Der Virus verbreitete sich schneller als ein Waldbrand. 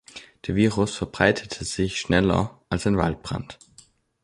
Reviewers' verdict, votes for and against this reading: accepted, 2, 0